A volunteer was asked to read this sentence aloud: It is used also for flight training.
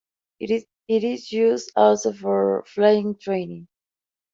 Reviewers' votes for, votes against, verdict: 0, 2, rejected